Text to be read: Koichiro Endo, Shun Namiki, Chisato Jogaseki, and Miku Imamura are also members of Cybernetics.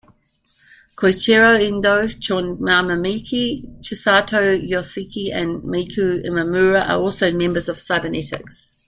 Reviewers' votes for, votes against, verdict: 0, 2, rejected